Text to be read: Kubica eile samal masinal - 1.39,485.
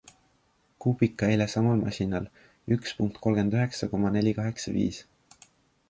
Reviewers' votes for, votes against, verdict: 0, 2, rejected